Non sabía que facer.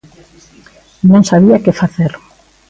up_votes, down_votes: 2, 0